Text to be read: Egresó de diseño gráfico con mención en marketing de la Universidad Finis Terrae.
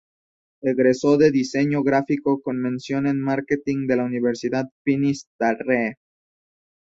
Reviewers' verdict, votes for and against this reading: rejected, 0, 2